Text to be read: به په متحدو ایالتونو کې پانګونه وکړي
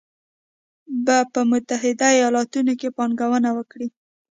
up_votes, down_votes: 2, 0